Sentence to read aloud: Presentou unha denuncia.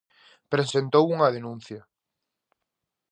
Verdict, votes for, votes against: accepted, 2, 0